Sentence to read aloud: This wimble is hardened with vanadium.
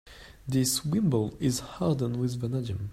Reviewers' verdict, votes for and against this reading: rejected, 0, 3